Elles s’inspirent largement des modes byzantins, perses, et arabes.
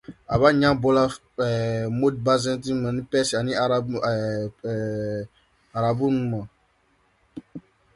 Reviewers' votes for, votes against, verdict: 0, 2, rejected